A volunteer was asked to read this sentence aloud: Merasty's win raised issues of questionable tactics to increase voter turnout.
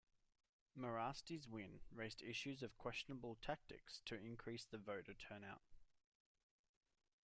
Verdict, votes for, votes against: rejected, 0, 2